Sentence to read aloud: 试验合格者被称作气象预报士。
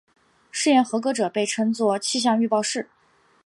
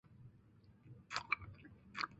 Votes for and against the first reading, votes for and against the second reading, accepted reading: 4, 0, 1, 2, first